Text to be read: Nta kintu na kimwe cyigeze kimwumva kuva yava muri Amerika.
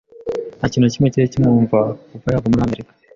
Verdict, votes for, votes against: rejected, 1, 2